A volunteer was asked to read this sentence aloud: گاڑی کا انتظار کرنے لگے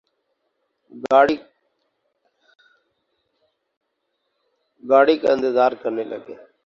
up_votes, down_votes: 0, 2